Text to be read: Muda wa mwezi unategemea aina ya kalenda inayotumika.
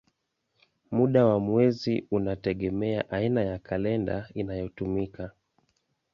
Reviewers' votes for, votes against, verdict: 2, 0, accepted